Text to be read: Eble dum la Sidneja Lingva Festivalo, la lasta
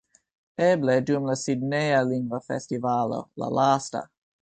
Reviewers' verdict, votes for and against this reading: accepted, 2, 0